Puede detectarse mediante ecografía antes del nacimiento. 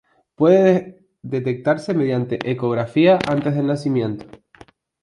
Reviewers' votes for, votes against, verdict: 2, 2, rejected